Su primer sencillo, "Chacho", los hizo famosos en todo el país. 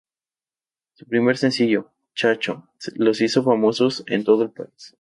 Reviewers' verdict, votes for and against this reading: rejected, 0, 2